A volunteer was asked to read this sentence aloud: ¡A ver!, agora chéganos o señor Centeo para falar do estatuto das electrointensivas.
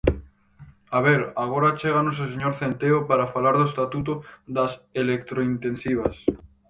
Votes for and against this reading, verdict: 4, 0, accepted